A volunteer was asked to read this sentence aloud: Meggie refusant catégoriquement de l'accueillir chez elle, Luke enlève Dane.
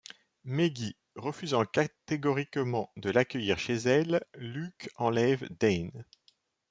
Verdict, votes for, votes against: rejected, 1, 2